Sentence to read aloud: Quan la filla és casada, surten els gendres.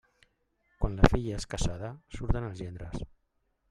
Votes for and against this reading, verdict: 0, 2, rejected